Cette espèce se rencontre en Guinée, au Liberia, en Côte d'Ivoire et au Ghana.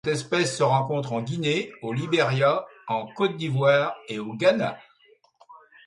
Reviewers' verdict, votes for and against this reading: rejected, 1, 2